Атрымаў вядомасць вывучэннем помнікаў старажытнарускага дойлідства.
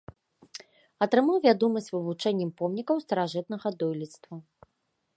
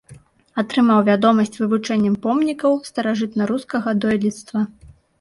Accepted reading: second